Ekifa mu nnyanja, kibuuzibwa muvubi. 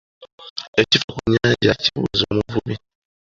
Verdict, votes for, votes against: rejected, 1, 2